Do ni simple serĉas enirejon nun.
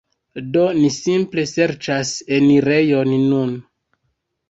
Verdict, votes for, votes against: rejected, 1, 2